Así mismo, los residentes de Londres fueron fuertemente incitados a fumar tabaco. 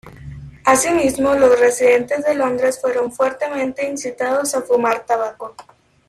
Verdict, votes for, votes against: rejected, 0, 2